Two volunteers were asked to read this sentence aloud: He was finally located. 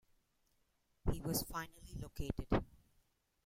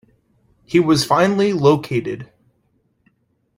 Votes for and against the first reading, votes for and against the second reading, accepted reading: 1, 2, 2, 0, second